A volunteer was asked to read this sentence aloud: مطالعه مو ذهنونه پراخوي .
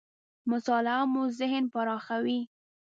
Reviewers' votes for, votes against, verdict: 1, 2, rejected